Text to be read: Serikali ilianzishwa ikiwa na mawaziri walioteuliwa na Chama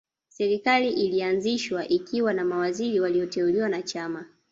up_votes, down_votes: 0, 2